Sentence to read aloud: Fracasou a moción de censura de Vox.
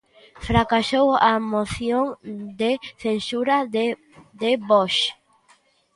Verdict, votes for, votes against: rejected, 0, 2